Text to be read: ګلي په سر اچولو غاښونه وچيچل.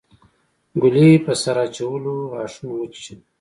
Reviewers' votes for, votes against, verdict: 0, 2, rejected